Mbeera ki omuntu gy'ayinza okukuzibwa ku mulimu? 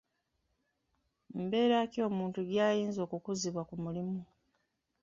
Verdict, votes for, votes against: rejected, 1, 2